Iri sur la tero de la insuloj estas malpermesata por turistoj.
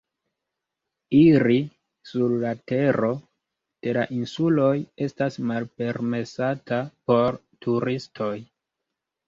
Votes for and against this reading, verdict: 2, 0, accepted